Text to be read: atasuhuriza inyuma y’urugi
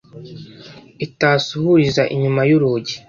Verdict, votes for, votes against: rejected, 0, 2